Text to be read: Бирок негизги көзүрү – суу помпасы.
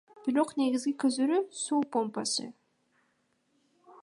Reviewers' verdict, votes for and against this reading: rejected, 0, 2